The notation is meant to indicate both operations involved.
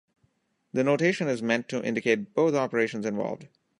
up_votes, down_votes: 1, 2